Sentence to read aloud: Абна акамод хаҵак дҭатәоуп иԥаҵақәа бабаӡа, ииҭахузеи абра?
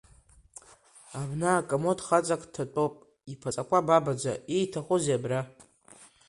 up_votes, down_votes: 2, 1